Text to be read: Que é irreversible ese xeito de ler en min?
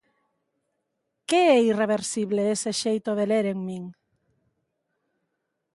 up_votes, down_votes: 2, 0